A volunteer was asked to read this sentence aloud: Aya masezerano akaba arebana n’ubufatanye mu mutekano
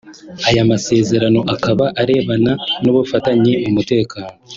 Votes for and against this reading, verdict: 2, 0, accepted